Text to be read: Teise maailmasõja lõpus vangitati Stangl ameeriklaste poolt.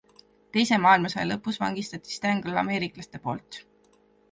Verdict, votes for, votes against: accepted, 3, 0